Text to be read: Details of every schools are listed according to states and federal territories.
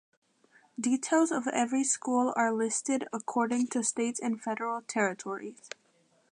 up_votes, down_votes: 0, 2